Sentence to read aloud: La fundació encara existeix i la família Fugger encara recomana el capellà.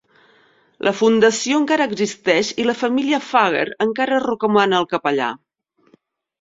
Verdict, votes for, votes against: rejected, 1, 2